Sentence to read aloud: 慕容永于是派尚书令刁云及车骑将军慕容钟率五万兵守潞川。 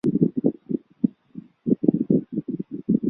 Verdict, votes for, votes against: rejected, 0, 2